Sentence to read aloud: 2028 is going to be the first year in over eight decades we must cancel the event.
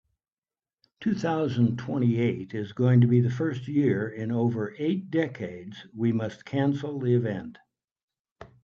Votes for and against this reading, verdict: 0, 2, rejected